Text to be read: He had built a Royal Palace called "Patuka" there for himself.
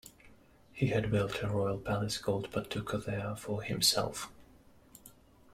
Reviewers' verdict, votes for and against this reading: accepted, 2, 1